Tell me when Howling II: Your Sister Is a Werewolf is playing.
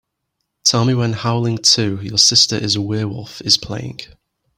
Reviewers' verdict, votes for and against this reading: accepted, 3, 0